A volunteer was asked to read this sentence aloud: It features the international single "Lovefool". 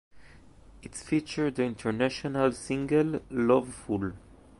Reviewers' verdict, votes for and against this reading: rejected, 0, 2